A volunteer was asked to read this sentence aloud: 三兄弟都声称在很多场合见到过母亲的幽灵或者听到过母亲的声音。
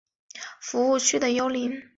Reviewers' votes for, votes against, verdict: 5, 2, accepted